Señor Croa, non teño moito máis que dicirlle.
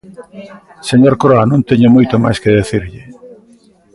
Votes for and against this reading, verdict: 2, 1, accepted